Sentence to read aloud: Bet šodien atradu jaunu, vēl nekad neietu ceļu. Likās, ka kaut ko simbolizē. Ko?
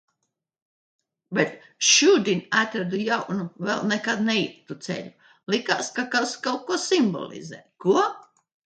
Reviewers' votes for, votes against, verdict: 0, 2, rejected